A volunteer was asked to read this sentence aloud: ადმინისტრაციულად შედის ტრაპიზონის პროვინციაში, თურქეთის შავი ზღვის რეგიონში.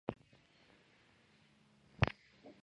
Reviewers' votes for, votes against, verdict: 0, 2, rejected